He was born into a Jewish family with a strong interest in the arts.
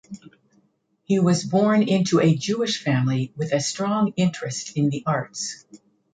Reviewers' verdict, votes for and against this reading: accepted, 2, 0